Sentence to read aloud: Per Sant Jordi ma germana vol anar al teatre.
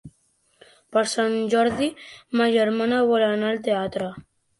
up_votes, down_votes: 3, 0